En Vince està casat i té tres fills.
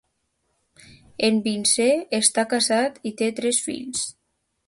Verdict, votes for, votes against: rejected, 0, 2